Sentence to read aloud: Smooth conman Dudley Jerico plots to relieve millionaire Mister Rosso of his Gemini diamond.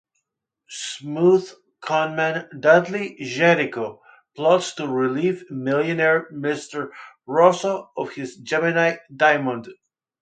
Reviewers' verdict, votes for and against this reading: accepted, 4, 0